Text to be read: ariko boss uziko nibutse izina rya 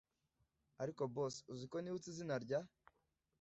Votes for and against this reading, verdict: 2, 0, accepted